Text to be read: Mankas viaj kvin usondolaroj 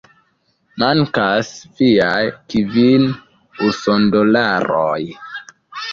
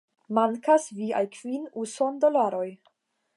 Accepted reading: second